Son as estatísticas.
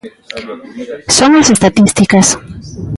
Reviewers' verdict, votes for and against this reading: rejected, 0, 2